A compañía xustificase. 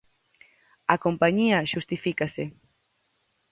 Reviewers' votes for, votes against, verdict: 2, 2, rejected